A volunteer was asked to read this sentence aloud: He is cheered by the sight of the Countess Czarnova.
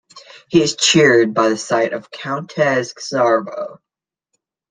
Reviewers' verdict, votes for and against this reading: rejected, 0, 2